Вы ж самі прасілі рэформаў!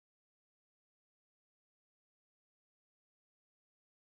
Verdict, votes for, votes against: rejected, 0, 2